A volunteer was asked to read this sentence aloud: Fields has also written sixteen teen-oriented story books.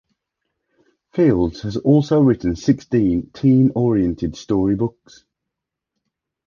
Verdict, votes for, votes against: accepted, 2, 0